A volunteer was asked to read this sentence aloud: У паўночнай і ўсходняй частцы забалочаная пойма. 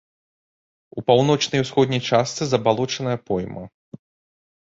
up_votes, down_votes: 0, 2